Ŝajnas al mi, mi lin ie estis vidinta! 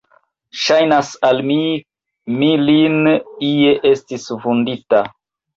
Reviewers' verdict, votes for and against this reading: rejected, 0, 2